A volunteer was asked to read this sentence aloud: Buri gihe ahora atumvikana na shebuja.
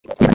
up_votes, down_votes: 2, 3